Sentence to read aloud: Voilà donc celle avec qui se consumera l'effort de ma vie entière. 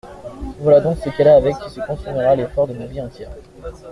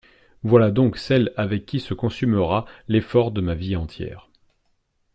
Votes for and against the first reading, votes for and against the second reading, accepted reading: 1, 2, 2, 0, second